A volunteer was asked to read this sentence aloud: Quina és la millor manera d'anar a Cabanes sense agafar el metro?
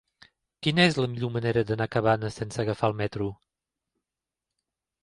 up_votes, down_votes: 3, 0